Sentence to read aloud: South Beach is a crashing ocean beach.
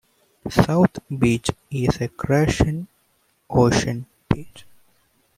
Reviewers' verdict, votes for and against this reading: rejected, 1, 2